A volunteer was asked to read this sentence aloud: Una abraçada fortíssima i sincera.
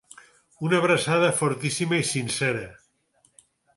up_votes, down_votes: 6, 0